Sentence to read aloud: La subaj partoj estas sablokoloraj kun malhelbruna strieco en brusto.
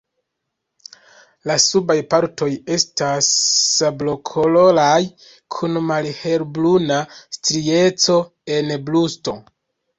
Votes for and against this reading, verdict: 1, 2, rejected